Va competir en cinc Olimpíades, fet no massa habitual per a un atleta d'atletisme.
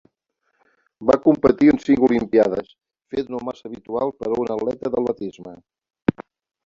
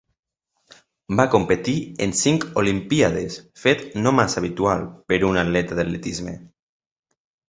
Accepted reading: second